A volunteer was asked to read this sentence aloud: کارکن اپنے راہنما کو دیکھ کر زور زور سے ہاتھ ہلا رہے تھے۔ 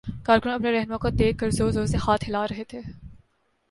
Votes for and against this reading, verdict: 2, 1, accepted